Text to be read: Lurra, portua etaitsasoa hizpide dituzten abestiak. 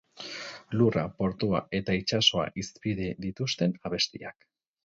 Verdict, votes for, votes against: rejected, 4, 4